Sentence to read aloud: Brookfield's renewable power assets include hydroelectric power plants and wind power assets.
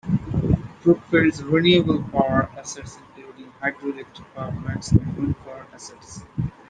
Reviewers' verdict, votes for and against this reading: accepted, 2, 1